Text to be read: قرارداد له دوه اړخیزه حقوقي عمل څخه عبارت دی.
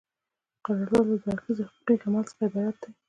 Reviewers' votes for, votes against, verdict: 2, 1, accepted